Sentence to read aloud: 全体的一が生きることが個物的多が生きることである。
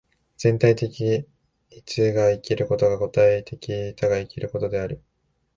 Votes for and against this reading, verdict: 0, 2, rejected